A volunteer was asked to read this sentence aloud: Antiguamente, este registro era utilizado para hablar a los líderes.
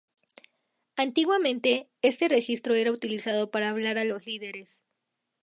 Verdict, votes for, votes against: rejected, 0, 2